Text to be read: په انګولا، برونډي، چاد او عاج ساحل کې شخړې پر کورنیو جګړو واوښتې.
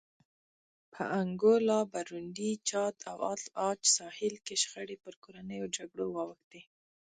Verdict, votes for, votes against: rejected, 0, 2